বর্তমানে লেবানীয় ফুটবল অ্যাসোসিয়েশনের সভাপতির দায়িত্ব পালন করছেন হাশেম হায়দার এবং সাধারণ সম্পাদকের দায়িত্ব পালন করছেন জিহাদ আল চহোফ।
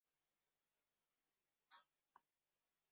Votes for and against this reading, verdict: 0, 4, rejected